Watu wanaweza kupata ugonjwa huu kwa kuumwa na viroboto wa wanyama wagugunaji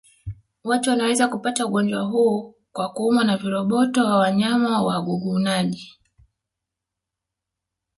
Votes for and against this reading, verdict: 2, 0, accepted